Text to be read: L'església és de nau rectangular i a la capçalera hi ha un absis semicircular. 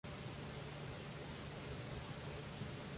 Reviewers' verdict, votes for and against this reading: rejected, 0, 2